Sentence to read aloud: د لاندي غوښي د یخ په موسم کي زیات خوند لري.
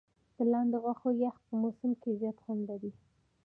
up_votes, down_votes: 1, 2